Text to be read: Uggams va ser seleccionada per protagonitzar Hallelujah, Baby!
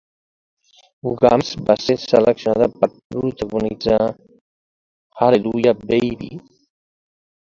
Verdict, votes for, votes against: accepted, 2, 1